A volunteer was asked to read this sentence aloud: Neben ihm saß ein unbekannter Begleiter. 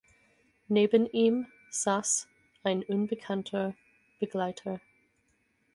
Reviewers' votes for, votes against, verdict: 4, 0, accepted